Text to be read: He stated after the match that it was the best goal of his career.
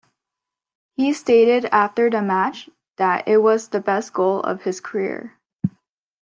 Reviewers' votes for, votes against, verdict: 2, 0, accepted